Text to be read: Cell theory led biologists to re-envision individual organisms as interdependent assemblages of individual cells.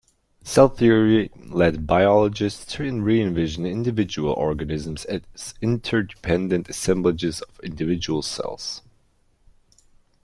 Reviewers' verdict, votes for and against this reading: rejected, 1, 2